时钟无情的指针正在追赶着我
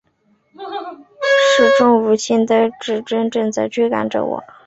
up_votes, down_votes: 2, 0